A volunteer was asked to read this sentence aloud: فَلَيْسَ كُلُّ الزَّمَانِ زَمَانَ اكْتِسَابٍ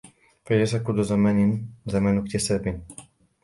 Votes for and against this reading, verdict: 2, 0, accepted